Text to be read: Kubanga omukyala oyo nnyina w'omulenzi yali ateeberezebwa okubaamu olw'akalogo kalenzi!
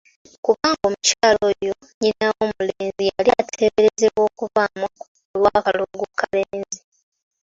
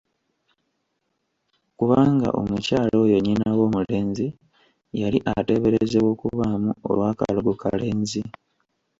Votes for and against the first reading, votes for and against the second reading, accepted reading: 2, 1, 1, 2, first